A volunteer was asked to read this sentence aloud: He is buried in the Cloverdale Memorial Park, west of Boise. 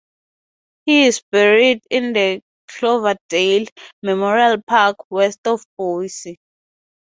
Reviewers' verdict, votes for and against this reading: accepted, 2, 0